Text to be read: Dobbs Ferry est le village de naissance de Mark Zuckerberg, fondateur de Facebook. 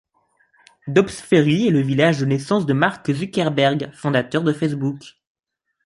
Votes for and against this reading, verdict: 2, 0, accepted